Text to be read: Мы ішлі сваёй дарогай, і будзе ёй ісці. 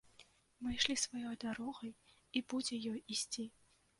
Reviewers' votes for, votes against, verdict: 1, 2, rejected